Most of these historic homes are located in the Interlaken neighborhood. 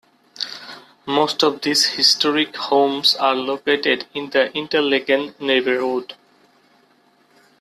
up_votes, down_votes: 0, 2